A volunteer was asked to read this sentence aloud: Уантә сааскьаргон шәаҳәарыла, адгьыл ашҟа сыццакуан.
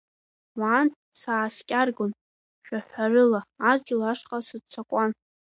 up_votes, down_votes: 2, 0